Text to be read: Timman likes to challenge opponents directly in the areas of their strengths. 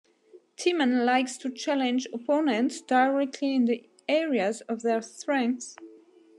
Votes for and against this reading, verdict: 2, 0, accepted